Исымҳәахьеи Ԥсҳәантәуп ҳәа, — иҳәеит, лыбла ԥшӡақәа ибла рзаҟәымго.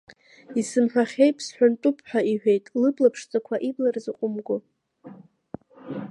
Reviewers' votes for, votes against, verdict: 0, 2, rejected